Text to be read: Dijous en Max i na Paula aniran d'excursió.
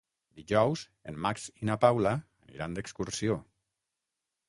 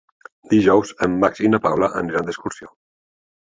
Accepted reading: second